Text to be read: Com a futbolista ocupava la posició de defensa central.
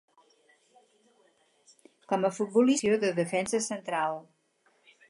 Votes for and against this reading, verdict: 0, 4, rejected